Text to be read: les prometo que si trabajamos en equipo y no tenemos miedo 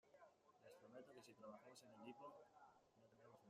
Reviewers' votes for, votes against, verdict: 0, 2, rejected